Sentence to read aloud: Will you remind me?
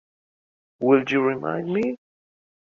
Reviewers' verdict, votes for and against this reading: accepted, 2, 0